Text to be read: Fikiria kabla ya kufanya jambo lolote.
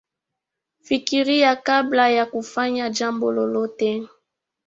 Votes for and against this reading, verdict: 0, 2, rejected